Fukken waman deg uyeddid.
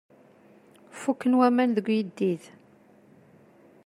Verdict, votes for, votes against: accepted, 2, 0